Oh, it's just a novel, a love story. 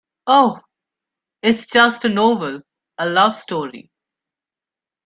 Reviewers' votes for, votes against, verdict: 2, 1, accepted